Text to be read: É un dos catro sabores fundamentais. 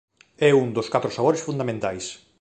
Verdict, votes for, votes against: accepted, 2, 0